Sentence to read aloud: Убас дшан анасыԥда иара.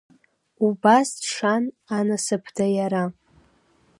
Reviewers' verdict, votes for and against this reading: rejected, 1, 2